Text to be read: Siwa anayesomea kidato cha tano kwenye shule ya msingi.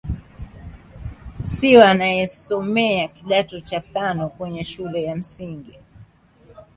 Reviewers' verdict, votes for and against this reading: accepted, 2, 1